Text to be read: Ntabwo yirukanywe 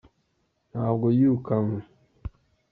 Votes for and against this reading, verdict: 2, 0, accepted